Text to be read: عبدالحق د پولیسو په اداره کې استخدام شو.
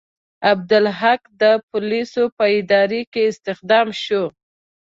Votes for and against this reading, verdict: 2, 0, accepted